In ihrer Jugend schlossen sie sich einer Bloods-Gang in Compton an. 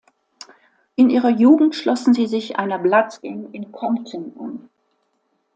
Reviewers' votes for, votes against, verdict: 2, 1, accepted